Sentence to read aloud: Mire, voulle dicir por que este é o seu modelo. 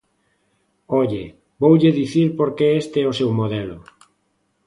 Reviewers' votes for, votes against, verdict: 0, 2, rejected